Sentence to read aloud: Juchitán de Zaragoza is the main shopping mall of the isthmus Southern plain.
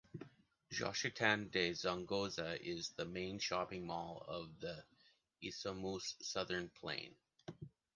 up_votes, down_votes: 1, 2